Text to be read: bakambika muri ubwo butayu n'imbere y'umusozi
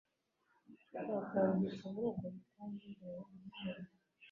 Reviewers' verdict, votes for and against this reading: rejected, 1, 2